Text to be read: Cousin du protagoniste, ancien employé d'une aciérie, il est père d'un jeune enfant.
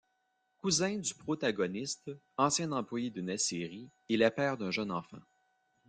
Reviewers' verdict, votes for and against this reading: accepted, 2, 0